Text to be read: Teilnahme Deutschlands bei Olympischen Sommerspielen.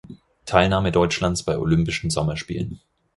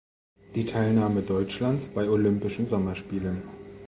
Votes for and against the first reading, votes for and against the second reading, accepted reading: 4, 0, 0, 2, first